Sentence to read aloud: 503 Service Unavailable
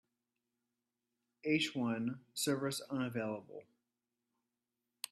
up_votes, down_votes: 0, 2